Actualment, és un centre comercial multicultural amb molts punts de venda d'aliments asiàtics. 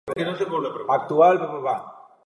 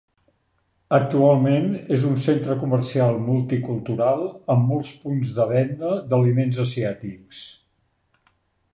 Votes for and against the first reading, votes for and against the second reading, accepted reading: 0, 2, 3, 0, second